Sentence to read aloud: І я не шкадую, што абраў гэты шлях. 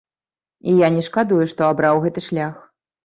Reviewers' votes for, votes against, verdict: 2, 0, accepted